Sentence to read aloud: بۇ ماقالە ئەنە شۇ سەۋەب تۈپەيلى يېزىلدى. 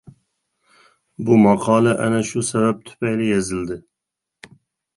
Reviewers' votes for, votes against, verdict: 2, 0, accepted